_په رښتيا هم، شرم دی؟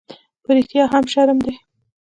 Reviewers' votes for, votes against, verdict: 1, 2, rejected